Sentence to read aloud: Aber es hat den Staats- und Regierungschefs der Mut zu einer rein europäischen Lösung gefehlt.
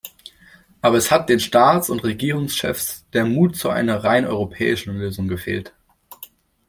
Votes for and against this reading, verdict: 2, 0, accepted